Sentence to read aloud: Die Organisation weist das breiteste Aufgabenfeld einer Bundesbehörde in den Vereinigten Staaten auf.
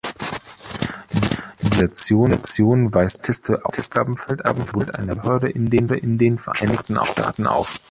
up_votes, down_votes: 0, 2